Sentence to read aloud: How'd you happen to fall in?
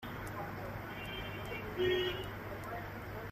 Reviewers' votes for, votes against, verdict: 0, 2, rejected